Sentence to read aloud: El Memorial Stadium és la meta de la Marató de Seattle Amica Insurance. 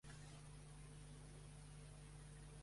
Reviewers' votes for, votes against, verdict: 0, 3, rejected